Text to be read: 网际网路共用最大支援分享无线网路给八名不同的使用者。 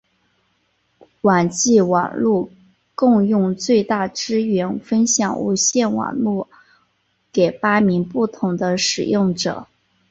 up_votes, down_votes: 5, 1